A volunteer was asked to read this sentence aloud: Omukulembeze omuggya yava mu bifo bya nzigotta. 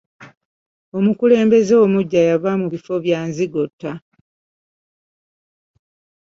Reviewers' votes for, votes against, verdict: 2, 0, accepted